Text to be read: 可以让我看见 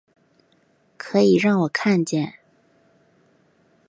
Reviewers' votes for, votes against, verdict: 4, 0, accepted